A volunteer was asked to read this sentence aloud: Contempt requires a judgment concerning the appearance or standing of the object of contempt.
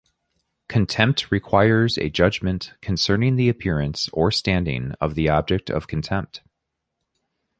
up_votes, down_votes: 2, 0